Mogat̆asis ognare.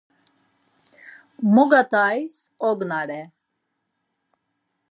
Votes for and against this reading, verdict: 0, 4, rejected